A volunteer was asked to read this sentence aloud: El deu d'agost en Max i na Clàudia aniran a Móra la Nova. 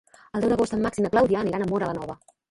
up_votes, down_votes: 1, 3